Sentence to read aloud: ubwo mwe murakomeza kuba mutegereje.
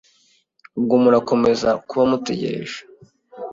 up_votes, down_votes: 0, 2